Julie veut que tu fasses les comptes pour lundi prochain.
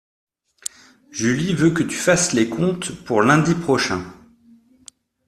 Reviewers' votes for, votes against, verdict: 2, 0, accepted